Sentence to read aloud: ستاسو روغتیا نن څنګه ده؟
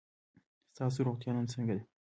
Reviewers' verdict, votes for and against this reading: rejected, 0, 2